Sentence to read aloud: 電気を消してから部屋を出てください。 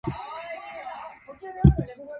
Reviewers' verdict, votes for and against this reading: rejected, 0, 2